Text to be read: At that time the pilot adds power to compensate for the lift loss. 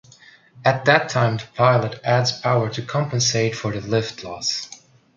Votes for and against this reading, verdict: 2, 0, accepted